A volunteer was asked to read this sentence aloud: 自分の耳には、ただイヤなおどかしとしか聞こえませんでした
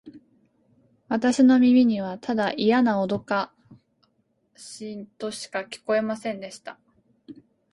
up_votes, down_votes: 1, 2